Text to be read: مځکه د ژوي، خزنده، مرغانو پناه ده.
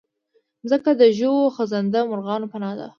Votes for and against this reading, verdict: 1, 2, rejected